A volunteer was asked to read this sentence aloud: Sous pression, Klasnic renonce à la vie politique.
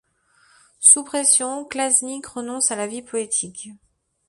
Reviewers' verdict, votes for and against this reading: accepted, 2, 0